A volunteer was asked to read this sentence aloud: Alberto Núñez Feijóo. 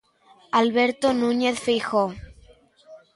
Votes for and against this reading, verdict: 2, 0, accepted